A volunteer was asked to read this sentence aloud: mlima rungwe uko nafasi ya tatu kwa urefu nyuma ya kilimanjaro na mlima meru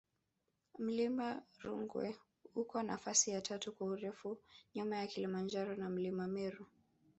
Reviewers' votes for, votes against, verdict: 2, 3, rejected